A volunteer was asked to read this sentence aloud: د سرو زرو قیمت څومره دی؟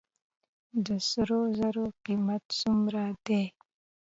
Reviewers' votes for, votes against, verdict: 2, 0, accepted